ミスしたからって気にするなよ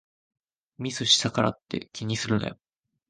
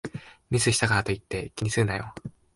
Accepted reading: first